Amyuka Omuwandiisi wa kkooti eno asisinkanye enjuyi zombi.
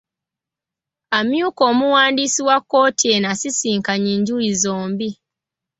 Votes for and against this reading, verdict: 2, 1, accepted